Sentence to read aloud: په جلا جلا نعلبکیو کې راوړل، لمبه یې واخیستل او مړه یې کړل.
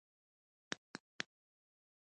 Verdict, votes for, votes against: rejected, 1, 2